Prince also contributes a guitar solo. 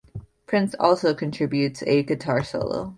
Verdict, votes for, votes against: accepted, 2, 1